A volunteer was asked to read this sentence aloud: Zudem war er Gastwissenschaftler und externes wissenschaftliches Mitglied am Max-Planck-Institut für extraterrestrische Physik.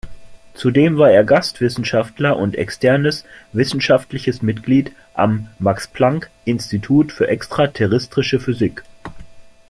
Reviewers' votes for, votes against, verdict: 6, 1, accepted